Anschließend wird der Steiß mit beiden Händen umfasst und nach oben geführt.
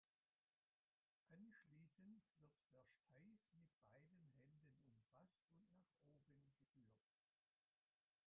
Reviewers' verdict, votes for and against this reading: rejected, 0, 2